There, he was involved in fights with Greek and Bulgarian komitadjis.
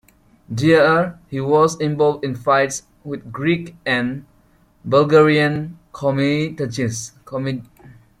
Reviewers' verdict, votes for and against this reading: rejected, 0, 2